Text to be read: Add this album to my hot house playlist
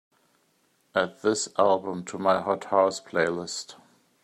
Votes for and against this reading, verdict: 2, 0, accepted